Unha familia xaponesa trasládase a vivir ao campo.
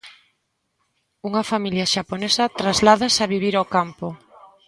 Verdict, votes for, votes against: accepted, 2, 0